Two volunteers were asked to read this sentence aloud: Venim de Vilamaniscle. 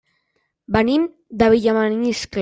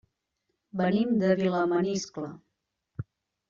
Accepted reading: second